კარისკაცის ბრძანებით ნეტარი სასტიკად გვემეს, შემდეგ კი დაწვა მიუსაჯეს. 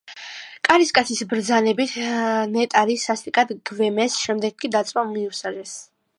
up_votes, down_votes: 0, 2